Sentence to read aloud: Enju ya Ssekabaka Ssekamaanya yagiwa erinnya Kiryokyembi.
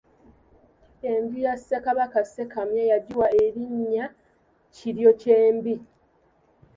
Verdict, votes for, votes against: rejected, 1, 2